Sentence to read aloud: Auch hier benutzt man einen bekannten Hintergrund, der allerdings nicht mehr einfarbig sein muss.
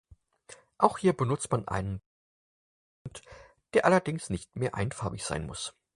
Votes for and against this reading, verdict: 0, 4, rejected